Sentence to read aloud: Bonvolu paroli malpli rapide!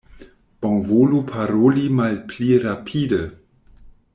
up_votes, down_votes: 2, 0